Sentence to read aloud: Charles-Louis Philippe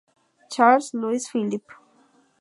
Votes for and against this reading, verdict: 2, 0, accepted